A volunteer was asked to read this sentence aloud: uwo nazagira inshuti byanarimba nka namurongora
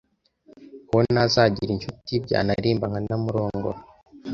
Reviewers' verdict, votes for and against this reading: accepted, 2, 0